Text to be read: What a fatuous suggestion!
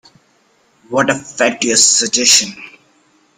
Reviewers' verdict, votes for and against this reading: accepted, 2, 0